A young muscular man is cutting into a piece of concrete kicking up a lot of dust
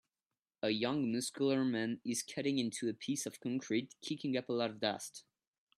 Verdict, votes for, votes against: accepted, 2, 0